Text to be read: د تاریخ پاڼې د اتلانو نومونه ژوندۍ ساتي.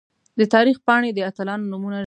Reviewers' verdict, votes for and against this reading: rejected, 0, 2